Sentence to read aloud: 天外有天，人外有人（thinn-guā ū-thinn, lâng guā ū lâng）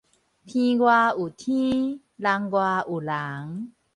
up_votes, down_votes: 2, 2